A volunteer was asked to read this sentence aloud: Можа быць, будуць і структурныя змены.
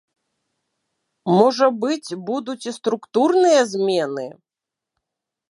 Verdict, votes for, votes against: accepted, 2, 0